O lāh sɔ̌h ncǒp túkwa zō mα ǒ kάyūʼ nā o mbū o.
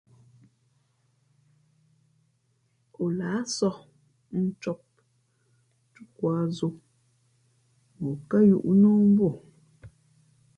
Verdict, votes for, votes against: accepted, 2, 0